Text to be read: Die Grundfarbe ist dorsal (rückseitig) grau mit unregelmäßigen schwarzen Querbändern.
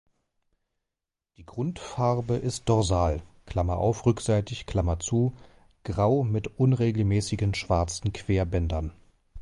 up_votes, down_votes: 0, 2